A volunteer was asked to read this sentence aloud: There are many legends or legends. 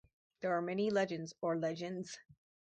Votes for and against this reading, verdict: 6, 0, accepted